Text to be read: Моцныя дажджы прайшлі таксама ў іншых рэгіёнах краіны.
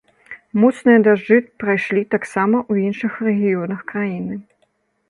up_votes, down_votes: 0, 2